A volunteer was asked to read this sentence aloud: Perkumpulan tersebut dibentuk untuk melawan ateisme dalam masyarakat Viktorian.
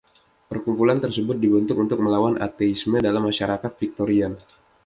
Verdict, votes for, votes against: accepted, 2, 0